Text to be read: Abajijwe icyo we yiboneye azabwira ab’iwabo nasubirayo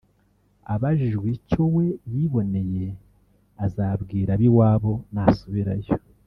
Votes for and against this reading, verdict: 1, 2, rejected